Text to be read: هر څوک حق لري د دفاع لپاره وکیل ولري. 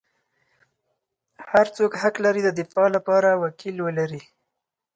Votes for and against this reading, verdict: 10, 0, accepted